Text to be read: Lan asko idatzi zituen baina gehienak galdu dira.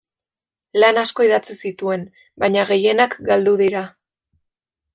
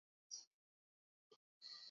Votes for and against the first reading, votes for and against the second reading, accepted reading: 2, 0, 0, 2, first